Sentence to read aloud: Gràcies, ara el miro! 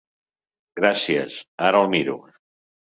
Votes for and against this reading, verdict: 4, 0, accepted